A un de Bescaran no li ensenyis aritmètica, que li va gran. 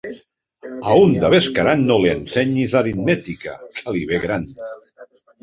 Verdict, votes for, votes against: rejected, 1, 2